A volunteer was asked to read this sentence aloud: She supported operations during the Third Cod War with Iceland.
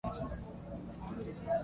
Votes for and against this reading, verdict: 0, 2, rejected